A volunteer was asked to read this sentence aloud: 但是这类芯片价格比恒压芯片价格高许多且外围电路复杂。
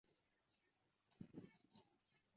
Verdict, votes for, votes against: rejected, 0, 5